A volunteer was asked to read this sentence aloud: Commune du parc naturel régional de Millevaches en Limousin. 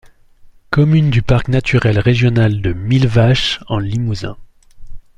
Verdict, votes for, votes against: accepted, 2, 0